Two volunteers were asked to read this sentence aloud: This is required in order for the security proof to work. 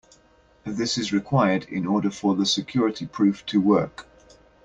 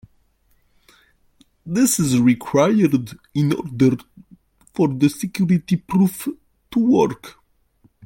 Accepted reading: first